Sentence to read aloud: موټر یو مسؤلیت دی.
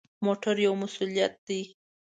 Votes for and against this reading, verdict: 2, 0, accepted